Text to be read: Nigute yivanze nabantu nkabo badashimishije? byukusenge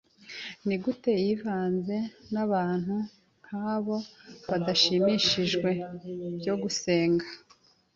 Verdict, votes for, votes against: accepted, 2, 0